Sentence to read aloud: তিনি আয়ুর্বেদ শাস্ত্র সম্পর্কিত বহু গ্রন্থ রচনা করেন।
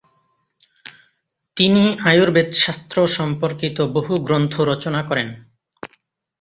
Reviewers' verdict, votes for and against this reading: accepted, 2, 0